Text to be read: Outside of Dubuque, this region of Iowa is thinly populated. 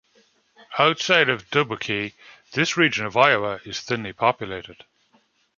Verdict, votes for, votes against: accepted, 2, 0